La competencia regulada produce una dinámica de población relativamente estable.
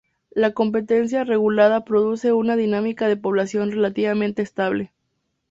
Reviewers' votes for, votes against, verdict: 2, 2, rejected